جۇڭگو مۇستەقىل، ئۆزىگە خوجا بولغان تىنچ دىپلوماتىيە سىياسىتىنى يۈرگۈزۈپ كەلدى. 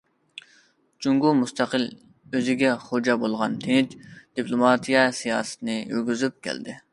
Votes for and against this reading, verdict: 2, 0, accepted